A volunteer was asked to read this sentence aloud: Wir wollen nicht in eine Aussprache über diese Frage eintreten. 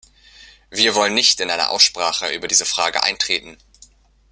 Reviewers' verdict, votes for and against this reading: accepted, 2, 0